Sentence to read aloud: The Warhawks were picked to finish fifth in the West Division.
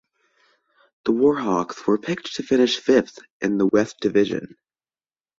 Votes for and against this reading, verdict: 1, 2, rejected